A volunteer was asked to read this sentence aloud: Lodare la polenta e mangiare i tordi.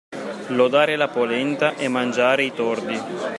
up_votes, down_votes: 3, 1